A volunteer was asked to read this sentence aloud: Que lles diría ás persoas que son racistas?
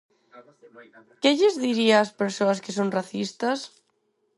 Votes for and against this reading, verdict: 2, 4, rejected